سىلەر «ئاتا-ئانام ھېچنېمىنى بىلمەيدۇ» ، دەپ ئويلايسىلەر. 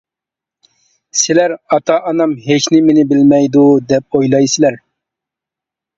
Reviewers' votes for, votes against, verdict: 2, 0, accepted